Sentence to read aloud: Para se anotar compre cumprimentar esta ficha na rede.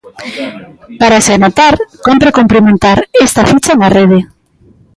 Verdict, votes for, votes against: rejected, 1, 2